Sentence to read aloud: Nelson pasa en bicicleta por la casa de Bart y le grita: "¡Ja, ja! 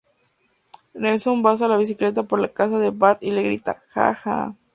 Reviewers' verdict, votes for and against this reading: rejected, 2, 2